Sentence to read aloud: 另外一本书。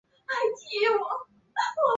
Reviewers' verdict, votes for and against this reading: rejected, 0, 3